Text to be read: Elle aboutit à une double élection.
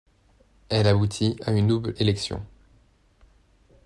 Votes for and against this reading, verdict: 2, 0, accepted